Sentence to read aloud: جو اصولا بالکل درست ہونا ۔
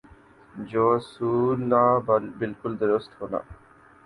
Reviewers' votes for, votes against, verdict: 0, 2, rejected